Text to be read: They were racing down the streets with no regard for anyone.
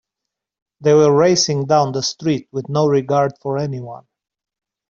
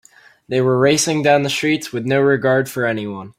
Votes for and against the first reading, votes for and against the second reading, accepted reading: 1, 2, 2, 0, second